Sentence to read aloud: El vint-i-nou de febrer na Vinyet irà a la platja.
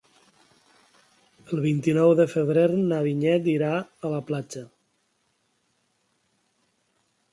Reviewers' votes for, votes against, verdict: 3, 0, accepted